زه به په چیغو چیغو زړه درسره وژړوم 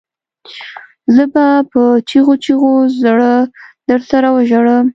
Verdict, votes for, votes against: accepted, 2, 0